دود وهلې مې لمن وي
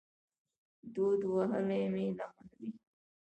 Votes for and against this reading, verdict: 2, 0, accepted